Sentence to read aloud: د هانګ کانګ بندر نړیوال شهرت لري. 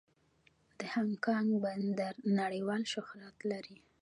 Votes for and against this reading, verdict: 0, 2, rejected